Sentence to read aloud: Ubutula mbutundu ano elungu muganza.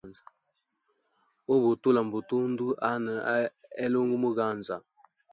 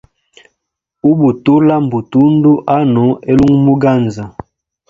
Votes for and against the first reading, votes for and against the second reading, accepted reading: 1, 2, 2, 0, second